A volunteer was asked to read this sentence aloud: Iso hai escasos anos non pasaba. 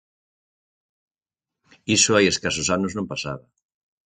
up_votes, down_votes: 6, 0